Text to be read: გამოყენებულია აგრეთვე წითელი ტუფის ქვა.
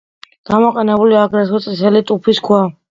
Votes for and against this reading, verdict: 0, 2, rejected